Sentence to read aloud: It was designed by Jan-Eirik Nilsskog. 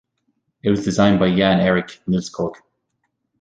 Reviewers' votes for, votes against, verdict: 1, 2, rejected